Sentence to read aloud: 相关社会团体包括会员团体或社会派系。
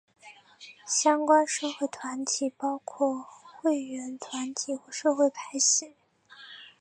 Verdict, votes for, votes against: accepted, 2, 0